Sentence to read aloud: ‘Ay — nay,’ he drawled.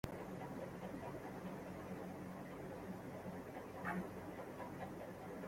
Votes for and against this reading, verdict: 0, 2, rejected